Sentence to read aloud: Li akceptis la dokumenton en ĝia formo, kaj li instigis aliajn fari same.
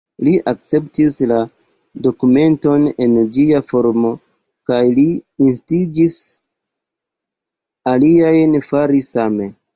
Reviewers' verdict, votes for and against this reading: rejected, 0, 2